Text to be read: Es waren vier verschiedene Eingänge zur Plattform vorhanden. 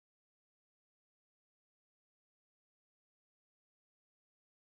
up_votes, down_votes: 0, 4